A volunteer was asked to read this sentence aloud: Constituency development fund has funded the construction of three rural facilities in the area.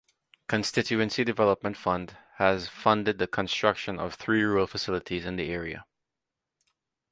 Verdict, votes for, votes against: accepted, 2, 0